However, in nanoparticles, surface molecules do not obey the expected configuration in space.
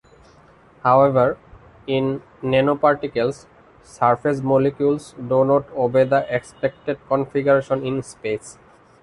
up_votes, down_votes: 2, 0